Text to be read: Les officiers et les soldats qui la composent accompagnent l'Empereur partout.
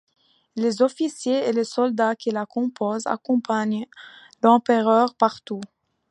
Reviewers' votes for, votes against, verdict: 1, 2, rejected